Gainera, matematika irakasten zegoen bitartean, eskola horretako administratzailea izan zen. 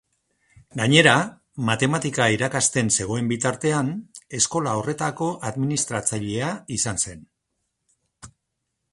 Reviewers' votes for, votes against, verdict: 2, 0, accepted